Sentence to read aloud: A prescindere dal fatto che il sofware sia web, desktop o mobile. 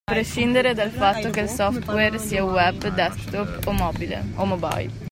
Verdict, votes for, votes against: rejected, 0, 2